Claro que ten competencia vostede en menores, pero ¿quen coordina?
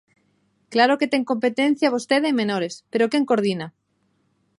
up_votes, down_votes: 2, 0